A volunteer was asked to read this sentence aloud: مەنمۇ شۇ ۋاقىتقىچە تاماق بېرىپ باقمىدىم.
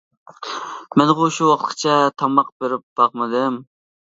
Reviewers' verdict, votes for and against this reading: rejected, 1, 2